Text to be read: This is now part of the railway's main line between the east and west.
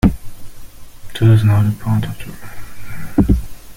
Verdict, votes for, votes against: rejected, 0, 2